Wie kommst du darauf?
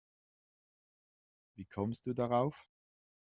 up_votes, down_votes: 2, 0